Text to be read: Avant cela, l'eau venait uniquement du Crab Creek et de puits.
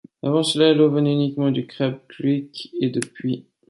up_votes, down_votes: 2, 0